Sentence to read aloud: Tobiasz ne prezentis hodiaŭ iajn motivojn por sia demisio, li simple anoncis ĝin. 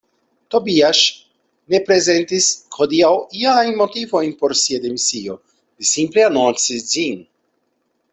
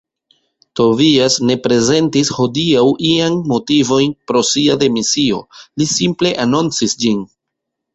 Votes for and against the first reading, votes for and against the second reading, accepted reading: 2, 1, 1, 2, first